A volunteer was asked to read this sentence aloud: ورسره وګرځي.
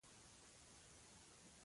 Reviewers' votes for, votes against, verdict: 0, 2, rejected